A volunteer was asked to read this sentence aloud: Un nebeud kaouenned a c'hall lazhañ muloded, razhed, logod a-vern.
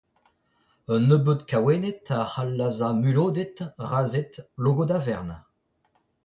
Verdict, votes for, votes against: rejected, 0, 2